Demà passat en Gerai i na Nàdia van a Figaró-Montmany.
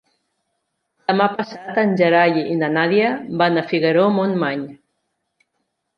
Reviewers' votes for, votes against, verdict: 3, 0, accepted